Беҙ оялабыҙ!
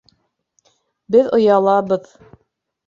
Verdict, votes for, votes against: accepted, 2, 0